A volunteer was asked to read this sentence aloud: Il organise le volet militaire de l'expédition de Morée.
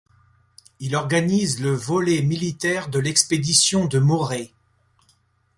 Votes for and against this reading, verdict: 2, 0, accepted